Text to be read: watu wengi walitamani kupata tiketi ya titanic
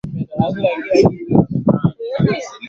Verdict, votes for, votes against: rejected, 0, 2